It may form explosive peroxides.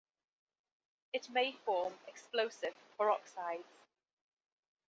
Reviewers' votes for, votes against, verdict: 2, 1, accepted